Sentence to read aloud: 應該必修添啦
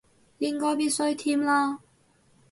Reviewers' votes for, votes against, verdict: 0, 2, rejected